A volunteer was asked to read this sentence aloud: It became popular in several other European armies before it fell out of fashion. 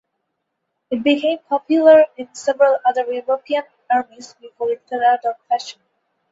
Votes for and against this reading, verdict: 2, 0, accepted